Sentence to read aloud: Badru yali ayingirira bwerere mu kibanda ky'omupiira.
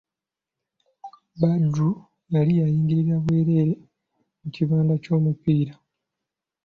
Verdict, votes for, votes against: accepted, 2, 1